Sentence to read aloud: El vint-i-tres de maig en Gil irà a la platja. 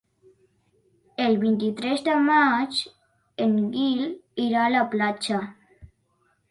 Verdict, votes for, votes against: rejected, 0, 2